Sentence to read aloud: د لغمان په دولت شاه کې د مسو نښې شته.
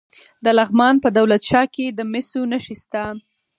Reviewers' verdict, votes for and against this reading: rejected, 2, 4